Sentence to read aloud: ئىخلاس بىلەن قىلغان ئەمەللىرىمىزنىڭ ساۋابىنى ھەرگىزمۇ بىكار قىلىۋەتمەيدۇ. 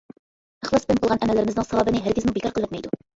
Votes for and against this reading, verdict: 1, 2, rejected